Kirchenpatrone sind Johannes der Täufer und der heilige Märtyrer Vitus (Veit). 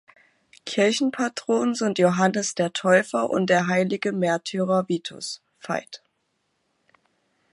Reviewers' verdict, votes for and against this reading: rejected, 0, 2